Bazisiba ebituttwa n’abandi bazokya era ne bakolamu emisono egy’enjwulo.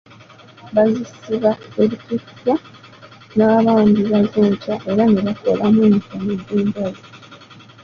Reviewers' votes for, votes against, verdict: 1, 2, rejected